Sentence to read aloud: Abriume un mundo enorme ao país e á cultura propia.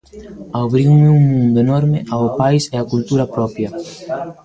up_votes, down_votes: 0, 2